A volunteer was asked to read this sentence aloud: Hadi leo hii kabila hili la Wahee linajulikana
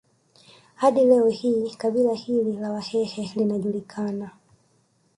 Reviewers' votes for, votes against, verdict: 2, 0, accepted